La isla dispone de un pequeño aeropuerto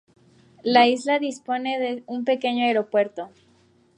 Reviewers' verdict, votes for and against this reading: accepted, 2, 0